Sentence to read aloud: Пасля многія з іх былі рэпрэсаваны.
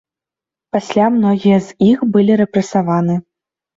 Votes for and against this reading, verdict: 0, 2, rejected